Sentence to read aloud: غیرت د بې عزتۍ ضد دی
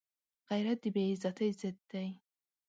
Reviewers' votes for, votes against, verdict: 0, 2, rejected